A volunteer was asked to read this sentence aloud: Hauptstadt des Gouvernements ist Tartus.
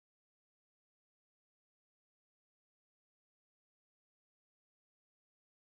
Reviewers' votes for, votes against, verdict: 0, 2, rejected